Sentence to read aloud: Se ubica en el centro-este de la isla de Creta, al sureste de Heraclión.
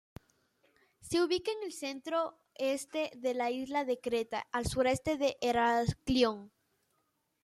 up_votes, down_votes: 2, 0